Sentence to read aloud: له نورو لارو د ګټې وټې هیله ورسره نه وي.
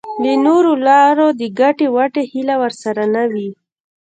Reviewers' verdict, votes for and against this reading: rejected, 1, 2